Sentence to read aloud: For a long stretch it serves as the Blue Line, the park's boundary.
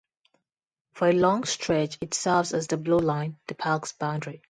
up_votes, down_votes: 2, 0